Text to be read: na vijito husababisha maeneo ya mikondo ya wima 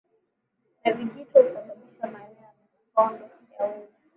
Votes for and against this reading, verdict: 0, 2, rejected